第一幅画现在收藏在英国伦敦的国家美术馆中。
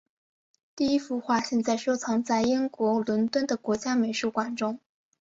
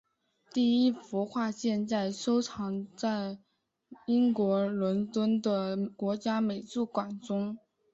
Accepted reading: second